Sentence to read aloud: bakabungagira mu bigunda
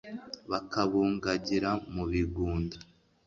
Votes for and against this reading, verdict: 2, 0, accepted